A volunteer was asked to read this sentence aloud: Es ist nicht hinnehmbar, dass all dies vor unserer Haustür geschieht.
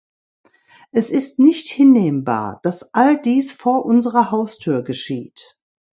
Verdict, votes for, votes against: accepted, 2, 0